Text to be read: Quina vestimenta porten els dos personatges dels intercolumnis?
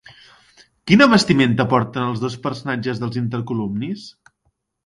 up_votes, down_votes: 2, 0